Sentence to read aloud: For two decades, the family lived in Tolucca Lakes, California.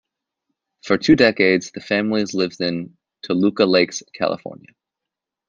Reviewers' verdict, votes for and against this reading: accepted, 2, 1